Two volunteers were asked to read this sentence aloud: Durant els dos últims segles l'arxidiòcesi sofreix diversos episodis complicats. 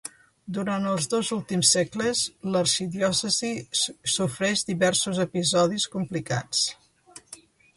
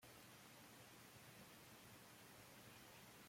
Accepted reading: first